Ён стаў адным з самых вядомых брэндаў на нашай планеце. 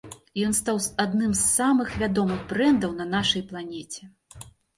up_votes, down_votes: 3, 0